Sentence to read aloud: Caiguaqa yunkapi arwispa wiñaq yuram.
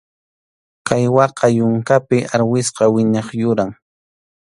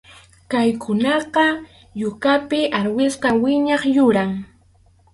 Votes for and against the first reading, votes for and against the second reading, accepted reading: 2, 0, 0, 2, first